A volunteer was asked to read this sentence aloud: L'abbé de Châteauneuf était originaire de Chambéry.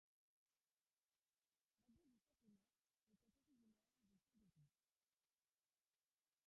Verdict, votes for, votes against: rejected, 0, 2